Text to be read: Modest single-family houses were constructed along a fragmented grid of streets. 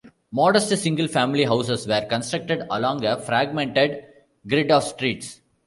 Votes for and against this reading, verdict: 1, 2, rejected